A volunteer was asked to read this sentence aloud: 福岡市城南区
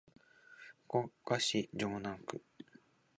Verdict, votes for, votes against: rejected, 0, 2